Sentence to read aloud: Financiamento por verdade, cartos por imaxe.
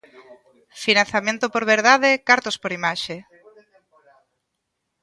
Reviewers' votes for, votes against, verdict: 2, 1, accepted